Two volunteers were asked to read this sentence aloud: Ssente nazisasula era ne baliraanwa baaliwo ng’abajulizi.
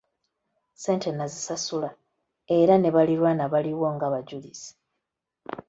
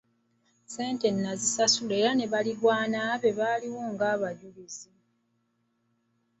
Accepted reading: first